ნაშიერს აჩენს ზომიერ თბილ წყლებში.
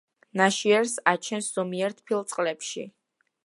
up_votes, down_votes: 2, 0